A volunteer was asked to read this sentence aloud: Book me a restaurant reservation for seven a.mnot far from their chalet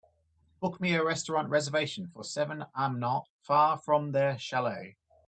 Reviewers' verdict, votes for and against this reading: accepted, 2, 0